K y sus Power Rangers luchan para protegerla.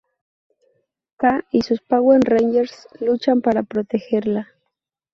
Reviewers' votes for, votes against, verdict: 4, 0, accepted